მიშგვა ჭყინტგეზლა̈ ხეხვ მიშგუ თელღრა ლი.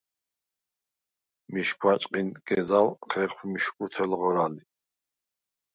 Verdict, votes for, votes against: rejected, 0, 4